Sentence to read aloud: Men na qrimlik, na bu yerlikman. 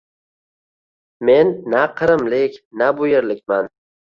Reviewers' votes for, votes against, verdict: 2, 0, accepted